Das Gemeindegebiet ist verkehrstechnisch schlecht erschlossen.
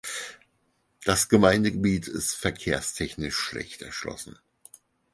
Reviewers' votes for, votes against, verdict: 4, 0, accepted